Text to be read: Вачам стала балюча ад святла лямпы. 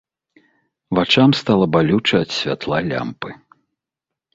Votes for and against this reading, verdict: 2, 0, accepted